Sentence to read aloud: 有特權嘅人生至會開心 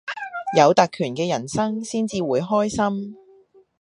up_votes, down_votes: 2, 1